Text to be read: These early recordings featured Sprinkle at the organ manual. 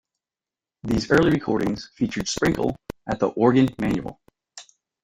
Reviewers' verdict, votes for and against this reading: rejected, 0, 2